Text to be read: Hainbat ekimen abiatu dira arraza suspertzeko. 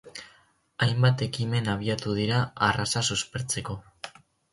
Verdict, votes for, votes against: accepted, 4, 0